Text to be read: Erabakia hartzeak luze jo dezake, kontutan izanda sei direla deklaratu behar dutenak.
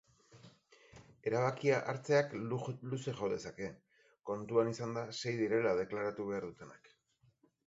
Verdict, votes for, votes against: rejected, 0, 4